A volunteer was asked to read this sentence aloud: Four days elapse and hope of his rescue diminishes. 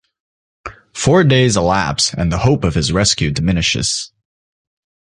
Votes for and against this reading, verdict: 0, 2, rejected